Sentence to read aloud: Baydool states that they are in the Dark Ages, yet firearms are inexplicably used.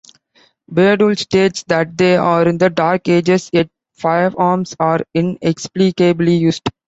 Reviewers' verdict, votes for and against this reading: accepted, 4, 0